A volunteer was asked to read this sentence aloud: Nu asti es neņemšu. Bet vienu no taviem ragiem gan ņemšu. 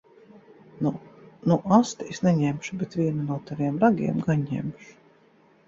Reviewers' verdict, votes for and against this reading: rejected, 0, 2